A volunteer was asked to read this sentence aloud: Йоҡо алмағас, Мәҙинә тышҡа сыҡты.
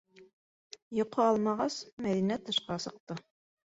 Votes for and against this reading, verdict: 3, 2, accepted